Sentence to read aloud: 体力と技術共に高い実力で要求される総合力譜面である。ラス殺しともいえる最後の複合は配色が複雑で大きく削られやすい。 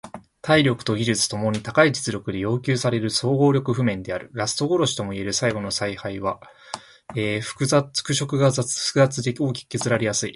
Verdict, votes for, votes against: rejected, 0, 2